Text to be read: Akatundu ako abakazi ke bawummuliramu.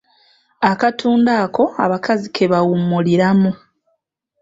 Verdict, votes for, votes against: rejected, 1, 2